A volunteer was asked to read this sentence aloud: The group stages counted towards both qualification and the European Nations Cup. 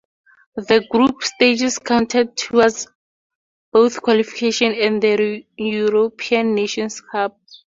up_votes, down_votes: 4, 0